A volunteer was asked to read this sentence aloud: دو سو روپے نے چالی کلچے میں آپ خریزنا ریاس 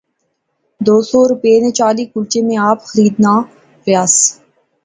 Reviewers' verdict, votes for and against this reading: rejected, 1, 2